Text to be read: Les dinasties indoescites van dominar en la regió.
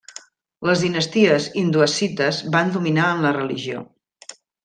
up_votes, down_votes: 1, 2